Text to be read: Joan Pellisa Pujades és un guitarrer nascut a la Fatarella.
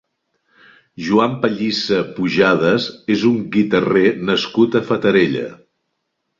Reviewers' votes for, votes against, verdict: 0, 2, rejected